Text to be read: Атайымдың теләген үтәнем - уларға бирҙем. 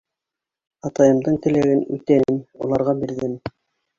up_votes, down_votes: 2, 1